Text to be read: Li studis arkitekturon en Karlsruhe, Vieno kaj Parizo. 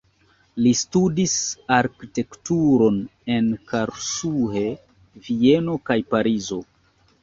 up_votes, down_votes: 2, 0